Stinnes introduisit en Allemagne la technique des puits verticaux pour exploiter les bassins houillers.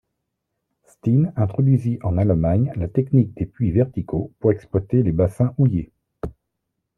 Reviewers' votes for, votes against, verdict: 2, 0, accepted